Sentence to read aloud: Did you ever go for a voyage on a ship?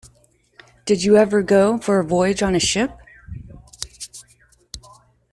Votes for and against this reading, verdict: 2, 0, accepted